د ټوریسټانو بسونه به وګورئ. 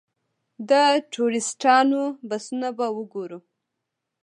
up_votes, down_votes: 1, 2